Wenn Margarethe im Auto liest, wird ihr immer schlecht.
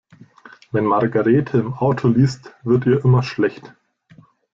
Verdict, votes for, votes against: accepted, 2, 0